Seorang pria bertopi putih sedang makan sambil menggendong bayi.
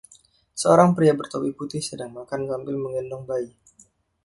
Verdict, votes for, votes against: rejected, 1, 2